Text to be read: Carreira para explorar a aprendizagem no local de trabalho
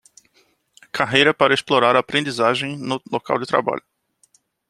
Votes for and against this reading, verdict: 2, 0, accepted